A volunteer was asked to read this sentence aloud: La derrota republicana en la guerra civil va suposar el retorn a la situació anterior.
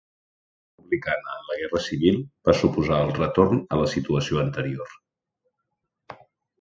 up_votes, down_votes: 0, 2